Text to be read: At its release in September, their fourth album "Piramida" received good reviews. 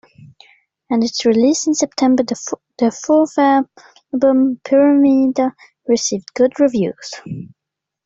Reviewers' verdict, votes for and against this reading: rejected, 1, 2